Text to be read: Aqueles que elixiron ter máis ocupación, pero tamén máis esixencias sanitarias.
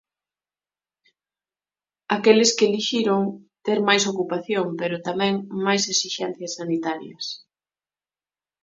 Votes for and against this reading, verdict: 2, 0, accepted